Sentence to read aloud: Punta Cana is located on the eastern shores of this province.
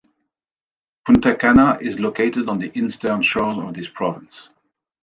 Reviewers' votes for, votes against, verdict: 0, 2, rejected